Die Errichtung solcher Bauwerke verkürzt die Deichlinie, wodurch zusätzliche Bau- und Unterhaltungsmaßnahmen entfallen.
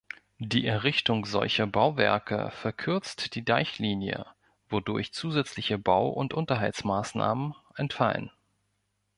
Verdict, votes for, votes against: rejected, 0, 2